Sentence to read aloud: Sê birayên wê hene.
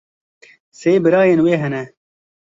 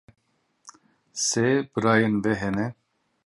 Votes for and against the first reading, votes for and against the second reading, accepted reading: 2, 0, 1, 2, first